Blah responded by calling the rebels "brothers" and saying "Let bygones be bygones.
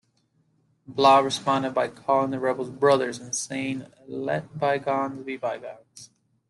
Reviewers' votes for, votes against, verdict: 2, 1, accepted